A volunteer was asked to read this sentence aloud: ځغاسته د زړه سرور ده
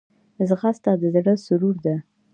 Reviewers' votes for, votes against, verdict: 0, 2, rejected